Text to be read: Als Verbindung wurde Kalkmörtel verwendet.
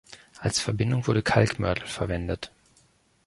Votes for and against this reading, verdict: 3, 0, accepted